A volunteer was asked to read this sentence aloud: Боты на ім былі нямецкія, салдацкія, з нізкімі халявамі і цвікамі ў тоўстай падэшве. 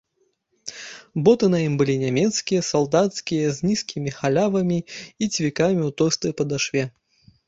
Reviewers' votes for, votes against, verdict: 1, 2, rejected